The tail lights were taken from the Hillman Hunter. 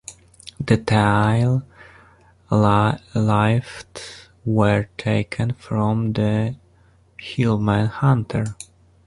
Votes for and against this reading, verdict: 0, 2, rejected